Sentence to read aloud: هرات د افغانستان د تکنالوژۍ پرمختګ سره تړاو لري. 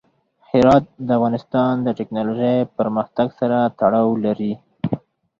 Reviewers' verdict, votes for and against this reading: accepted, 4, 0